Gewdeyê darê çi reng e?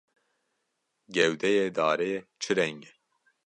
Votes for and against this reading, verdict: 2, 0, accepted